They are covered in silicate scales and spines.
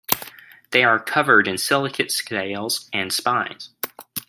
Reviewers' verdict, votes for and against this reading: accepted, 2, 0